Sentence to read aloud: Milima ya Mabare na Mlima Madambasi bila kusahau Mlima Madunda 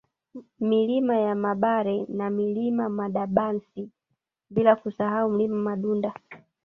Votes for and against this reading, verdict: 1, 2, rejected